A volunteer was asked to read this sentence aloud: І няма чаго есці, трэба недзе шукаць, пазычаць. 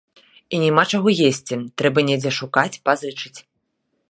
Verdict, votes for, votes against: rejected, 0, 2